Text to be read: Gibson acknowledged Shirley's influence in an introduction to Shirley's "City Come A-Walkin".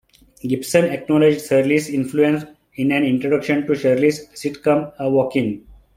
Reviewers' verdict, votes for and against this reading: rejected, 0, 2